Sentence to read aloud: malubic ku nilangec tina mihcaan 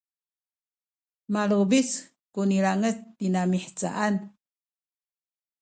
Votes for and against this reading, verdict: 2, 0, accepted